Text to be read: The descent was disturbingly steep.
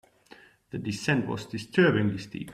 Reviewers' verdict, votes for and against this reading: accepted, 2, 0